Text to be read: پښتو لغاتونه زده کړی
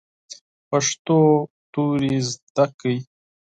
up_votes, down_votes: 2, 4